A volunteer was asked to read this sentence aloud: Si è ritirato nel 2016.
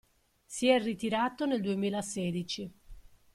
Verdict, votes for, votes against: rejected, 0, 2